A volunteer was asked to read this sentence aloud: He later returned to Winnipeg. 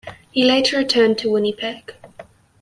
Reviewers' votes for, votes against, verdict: 2, 0, accepted